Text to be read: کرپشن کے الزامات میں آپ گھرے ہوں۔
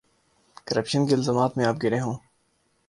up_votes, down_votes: 0, 2